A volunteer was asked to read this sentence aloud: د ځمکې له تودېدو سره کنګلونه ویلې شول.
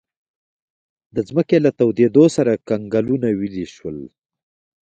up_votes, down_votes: 1, 2